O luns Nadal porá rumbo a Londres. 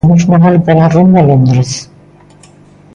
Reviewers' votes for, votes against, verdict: 2, 0, accepted